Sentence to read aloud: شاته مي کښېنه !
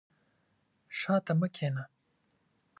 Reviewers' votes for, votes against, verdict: 2, 0, accepted